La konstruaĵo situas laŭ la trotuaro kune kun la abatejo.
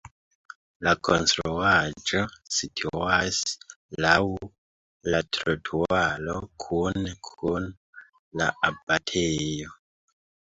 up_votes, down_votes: 1, 3